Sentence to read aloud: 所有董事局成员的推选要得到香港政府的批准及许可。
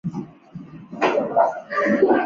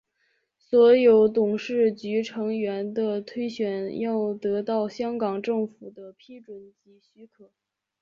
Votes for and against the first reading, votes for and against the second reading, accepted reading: 1, 3, 4, 3, second